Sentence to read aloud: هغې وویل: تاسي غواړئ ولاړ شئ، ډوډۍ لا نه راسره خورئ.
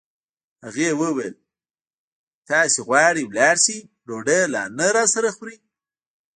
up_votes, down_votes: 0, 2